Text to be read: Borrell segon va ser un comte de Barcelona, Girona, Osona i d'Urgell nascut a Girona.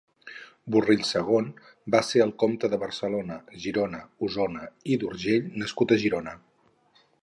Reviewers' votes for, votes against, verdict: 0, 4, rejected